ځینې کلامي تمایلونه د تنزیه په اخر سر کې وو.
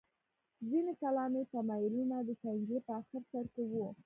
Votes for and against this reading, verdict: 0, 2, rejected